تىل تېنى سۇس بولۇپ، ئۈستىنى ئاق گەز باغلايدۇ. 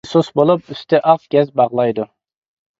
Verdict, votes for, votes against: rejected, 0, 2